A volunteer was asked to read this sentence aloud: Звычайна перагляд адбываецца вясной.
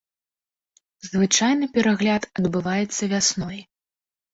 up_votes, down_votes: 2, 1